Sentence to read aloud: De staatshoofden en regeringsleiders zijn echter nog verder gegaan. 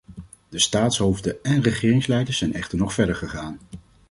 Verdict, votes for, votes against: accepted, 2, 0